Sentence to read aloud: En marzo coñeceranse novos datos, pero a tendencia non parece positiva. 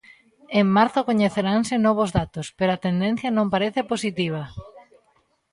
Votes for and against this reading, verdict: 2, 0, accepted